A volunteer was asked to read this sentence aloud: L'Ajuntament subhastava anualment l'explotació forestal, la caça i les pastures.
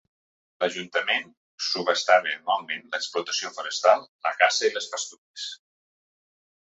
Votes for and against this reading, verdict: 2, 0, accepted